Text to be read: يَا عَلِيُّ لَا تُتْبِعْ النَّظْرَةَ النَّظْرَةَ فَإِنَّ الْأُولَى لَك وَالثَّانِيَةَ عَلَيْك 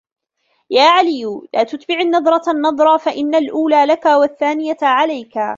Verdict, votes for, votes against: rejected, 1, 2